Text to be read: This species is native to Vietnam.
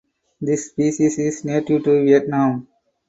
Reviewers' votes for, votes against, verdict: 4, 0, accepted